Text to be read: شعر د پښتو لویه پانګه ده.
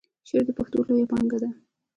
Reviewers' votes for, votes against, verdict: 2, 1, accepted